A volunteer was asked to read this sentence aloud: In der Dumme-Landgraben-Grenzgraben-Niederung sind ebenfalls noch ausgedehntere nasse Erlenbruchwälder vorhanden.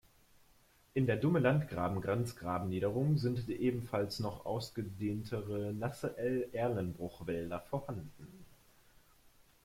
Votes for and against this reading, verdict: 2, 1, accepted